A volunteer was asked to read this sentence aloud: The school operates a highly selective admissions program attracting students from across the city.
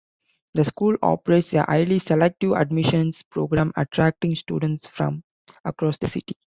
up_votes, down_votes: 2, 0